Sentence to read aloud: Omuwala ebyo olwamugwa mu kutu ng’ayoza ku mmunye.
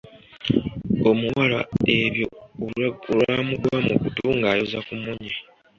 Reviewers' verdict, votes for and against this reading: accepted, 3, 0